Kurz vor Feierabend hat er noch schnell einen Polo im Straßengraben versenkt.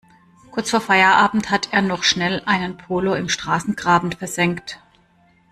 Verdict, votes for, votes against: accepted, 2, 0